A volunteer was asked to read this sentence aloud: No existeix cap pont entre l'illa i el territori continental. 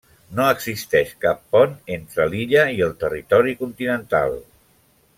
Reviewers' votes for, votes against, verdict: 3, 0, accepted